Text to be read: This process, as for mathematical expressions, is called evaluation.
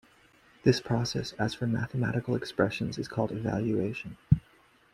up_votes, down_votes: 2, 0